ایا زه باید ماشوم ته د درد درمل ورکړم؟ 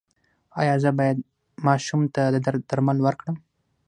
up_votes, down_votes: 6, 0